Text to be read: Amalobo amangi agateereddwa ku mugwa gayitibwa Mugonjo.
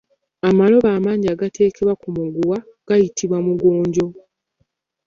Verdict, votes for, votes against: rejected, 1, 2